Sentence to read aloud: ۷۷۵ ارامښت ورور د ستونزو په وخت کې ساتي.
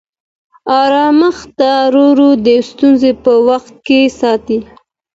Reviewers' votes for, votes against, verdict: 0, 2, rejected